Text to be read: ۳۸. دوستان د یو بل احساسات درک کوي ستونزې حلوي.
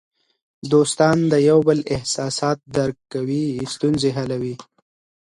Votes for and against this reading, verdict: 0, 2, rejected